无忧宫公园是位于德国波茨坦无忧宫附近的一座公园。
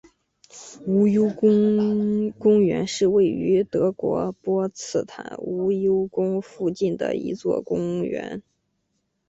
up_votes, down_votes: 0, 2